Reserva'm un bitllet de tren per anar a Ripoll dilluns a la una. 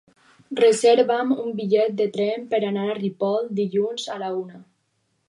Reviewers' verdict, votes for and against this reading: accepted, 4, 2